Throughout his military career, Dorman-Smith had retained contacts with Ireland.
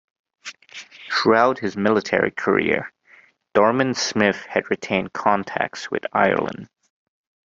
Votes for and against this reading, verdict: 2, 0, accepted